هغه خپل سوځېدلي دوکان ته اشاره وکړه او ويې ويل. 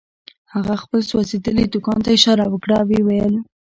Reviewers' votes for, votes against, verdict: 2, 1, accepted